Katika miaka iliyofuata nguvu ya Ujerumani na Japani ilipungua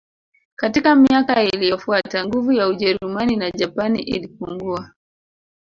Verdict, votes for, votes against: rejected, 1, 2